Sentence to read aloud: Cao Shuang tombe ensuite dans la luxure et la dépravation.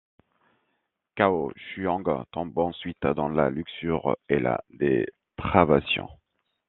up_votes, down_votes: 2, 0